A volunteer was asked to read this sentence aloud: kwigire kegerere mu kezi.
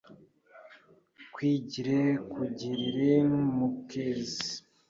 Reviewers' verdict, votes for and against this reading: rejected, 0, 2